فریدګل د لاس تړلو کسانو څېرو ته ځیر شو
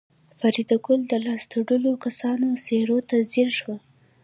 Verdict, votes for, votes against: accepted, 2, 0